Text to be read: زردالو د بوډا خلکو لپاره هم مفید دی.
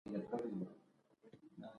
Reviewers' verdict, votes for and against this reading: accepted, 2, 0